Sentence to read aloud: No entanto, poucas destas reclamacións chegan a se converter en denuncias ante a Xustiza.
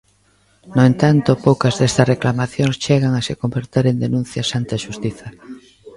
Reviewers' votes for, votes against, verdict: 0, 2, rejected